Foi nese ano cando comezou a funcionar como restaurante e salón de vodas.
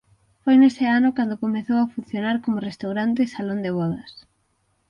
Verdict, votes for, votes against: accepted, 6, 0